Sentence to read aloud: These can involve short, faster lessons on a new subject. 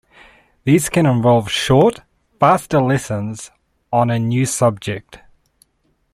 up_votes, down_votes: 2, 0